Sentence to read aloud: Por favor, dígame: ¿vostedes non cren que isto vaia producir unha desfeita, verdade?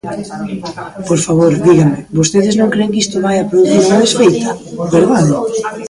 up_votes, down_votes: 0, 2